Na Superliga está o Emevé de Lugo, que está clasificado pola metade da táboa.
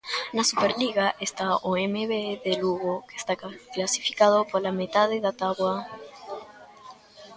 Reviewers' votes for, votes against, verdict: 0, 2, rejected